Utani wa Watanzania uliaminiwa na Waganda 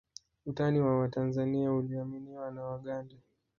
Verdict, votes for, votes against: rejected, 1, 2